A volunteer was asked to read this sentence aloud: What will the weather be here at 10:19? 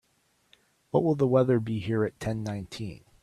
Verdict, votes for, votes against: rejected, 0, 2